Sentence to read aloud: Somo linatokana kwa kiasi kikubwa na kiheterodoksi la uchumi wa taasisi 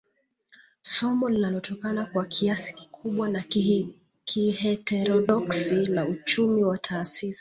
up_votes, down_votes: 0, 2